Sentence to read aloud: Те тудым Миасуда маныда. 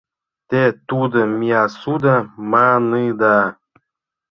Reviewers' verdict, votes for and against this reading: accepted, 2, 0